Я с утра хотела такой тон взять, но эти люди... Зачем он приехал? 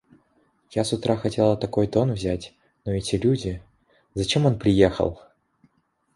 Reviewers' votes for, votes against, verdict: 2, 0, accepted